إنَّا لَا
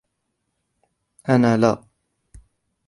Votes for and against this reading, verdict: 0, 2, rejected